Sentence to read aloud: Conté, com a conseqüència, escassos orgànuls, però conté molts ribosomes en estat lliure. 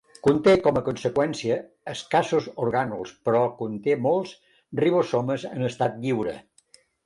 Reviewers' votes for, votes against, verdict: 2, 0, accepted